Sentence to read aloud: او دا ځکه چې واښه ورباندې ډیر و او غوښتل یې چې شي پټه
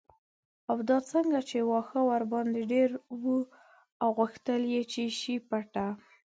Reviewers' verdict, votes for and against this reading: accepted, 2, 1